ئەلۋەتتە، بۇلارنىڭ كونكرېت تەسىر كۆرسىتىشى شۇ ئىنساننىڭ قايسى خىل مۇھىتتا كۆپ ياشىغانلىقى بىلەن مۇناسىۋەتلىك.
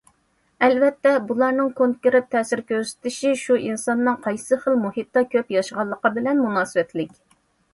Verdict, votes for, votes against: accepted, 2, 0